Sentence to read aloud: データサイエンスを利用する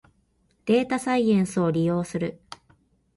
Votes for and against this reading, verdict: 2, 0, accepted